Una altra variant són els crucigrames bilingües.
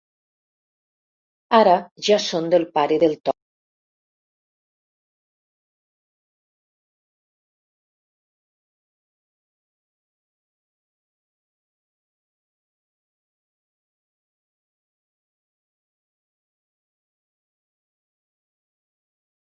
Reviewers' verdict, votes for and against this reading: rejected, 0, 2